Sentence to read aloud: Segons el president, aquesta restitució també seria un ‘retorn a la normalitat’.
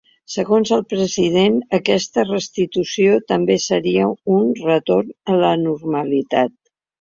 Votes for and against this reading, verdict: 2, 0, accepted